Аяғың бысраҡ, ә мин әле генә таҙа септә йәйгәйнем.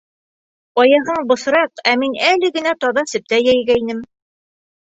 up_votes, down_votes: 2, 0